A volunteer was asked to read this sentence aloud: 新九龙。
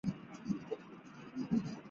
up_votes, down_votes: 0, 2